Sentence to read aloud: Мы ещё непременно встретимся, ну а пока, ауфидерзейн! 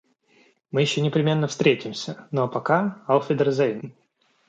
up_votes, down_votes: 2, 0